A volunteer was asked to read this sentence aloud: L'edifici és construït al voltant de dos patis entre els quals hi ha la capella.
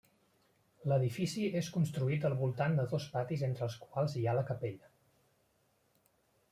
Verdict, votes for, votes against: rejected, 0, 2